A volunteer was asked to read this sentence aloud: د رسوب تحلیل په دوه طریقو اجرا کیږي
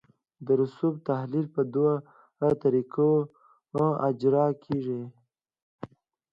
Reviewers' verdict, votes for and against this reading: accepted, 2, 0